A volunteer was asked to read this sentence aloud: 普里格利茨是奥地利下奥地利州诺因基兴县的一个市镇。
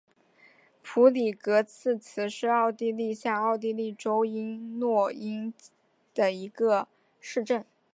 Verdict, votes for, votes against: accepted, 4, 0